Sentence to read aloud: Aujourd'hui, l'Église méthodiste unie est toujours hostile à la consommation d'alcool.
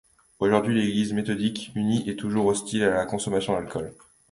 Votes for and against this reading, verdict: 1, 2, rejected